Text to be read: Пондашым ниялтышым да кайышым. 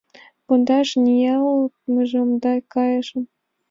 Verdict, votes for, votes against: rejected, 1, 2